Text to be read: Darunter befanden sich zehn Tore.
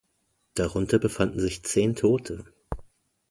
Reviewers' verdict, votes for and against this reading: rejected, 0, 2